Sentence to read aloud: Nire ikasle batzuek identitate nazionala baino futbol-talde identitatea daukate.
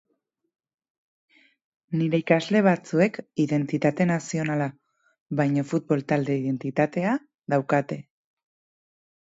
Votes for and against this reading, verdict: 4, 0, accepted